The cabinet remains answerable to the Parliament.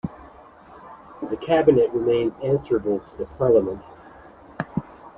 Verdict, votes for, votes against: accepted, 2, 0